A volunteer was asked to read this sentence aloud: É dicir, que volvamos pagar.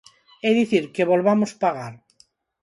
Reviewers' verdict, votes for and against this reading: accepted, 4, 0